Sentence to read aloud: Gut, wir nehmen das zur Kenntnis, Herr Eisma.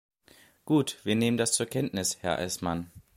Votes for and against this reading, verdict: 0, 2, rejected